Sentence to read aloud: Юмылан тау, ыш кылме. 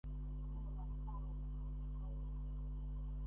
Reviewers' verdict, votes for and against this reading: rejected, 0, 2